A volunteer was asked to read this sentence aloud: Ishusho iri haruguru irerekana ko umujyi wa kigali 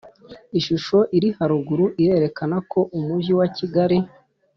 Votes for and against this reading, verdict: 3, 0, accepted